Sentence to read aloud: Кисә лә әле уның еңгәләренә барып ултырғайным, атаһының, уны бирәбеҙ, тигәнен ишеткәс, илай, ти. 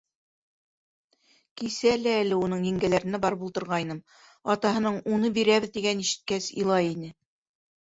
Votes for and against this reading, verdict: 0, 2, rejected